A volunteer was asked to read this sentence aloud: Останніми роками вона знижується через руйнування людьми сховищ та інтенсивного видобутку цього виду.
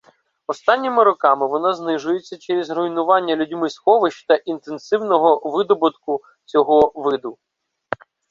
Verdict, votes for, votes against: rejected, 1, 2